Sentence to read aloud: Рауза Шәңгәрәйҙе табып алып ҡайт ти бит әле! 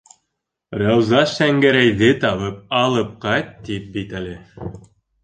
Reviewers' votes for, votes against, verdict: 1, 2, rejected